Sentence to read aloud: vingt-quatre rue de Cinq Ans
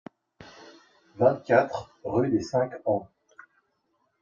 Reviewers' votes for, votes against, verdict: 1, 2, rejected